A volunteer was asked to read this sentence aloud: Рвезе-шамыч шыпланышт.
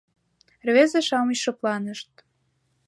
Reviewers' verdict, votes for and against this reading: accepted, 2, 0